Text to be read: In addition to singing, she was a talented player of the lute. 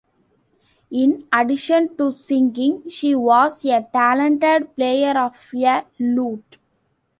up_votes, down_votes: 1, 2